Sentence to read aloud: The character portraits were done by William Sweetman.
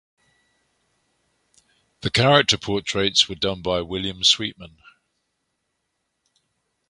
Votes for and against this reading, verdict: 2, 0, accepted